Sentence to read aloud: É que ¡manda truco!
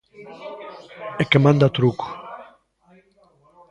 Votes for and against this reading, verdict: 0, 2, rejected